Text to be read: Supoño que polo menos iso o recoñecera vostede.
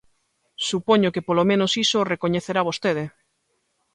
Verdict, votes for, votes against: rejected, 0, 2